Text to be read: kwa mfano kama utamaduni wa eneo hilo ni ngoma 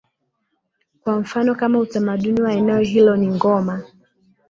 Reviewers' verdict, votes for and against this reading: accepted, 2, 0